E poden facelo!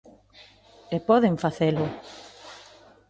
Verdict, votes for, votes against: accepted, 2, 0